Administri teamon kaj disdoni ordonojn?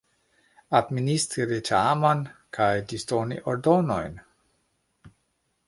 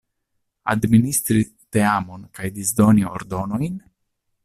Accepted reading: second